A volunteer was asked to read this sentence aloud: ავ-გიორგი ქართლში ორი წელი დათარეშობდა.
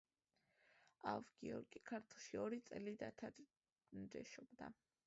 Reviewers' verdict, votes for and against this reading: accepted, 2, 1